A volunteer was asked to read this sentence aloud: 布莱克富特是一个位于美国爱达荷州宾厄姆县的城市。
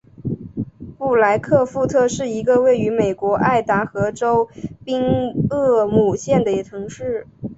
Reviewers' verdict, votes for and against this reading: accepted, 3, 0